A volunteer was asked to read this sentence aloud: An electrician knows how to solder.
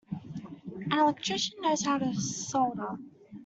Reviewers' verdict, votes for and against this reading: rejected, 0, 2